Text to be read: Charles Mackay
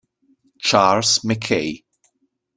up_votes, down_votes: 2, 0